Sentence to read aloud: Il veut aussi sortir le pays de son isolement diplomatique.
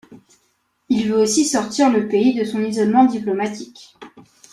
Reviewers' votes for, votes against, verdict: 2, 0, accepted